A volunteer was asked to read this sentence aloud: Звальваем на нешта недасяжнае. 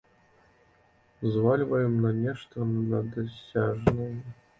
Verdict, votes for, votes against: rejected, 0, 2